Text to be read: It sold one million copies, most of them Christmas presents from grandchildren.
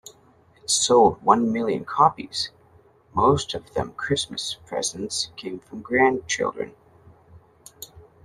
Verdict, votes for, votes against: rejected, 0, 2